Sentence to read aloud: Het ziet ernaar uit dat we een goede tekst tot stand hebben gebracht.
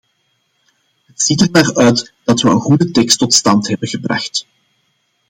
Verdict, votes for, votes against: accepted, 2, 0